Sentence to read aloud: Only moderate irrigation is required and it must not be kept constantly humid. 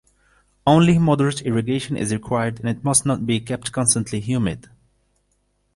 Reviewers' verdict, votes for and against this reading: accepted, 2, 0